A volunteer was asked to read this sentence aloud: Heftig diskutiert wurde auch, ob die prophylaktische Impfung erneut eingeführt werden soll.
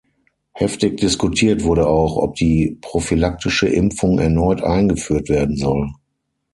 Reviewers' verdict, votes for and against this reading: accepted, 6, 0